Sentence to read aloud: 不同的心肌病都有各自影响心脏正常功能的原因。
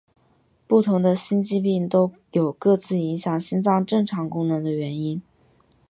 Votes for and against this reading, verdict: 2, 1, accepted